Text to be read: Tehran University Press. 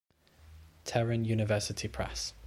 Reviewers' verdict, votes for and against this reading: accepted, 2, 0